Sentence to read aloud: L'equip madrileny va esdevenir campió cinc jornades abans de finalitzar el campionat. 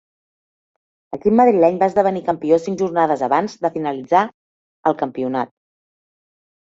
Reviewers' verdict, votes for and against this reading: rejected, 2, 3